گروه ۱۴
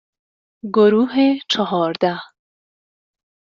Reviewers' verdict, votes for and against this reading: rejected, 0, 2